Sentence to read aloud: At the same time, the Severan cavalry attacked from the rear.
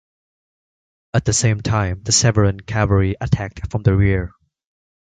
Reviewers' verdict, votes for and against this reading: accepted, 2, 0